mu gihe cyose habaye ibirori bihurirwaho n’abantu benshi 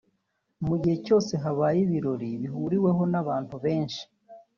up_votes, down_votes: 1, 2